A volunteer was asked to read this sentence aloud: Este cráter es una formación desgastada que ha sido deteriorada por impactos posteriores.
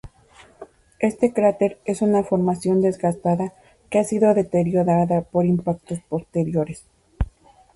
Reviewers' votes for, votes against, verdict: 0, 2, rejected